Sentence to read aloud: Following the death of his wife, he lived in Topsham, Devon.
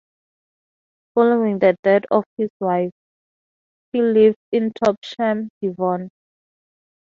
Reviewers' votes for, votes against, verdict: 2, 2, rejected